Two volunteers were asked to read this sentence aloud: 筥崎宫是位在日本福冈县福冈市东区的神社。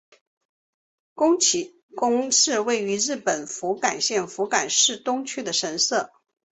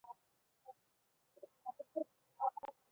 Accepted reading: first